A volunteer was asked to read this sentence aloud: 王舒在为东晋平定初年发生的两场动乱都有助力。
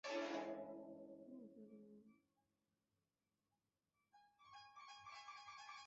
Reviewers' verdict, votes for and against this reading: rejected, 0, 2